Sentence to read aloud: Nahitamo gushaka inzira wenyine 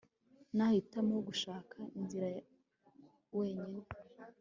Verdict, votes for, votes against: accepted, 2, 0